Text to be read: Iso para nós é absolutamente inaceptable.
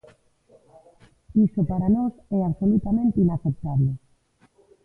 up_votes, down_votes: 0, 2